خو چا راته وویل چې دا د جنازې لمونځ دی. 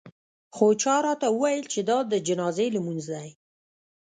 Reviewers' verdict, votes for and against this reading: rejected, 1, 2